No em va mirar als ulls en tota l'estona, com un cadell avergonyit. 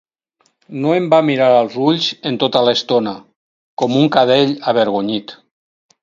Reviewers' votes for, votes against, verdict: 4, 0, accepted